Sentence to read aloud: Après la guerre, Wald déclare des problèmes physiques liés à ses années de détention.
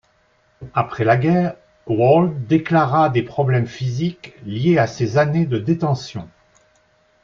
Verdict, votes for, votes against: rejected, 1, 2